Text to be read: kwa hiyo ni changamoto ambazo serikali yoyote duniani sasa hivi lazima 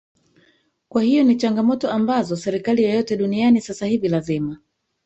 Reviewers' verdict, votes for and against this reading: rejected, 1, 2